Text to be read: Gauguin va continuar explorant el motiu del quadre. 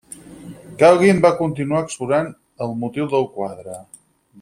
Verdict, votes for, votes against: rejected, 0, 4